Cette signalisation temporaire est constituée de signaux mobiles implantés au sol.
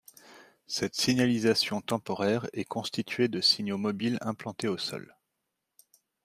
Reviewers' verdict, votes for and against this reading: accepted, 2, 0